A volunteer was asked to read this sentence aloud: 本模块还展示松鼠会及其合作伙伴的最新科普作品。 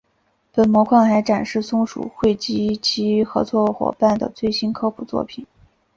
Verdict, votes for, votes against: accepted, 2, 1